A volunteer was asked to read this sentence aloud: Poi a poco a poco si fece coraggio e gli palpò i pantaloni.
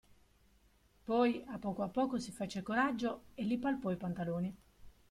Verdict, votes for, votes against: accepted, 2, 0